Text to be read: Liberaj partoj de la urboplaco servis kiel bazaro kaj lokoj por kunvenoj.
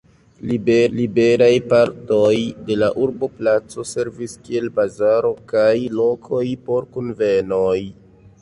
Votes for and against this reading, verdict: 1, 2, rejected